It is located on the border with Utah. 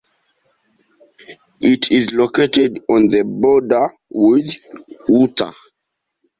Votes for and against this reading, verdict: 2, 0, accepted